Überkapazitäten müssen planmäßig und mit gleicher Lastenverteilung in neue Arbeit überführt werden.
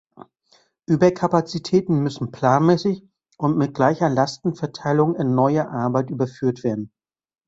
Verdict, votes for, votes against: accepted, 2, 0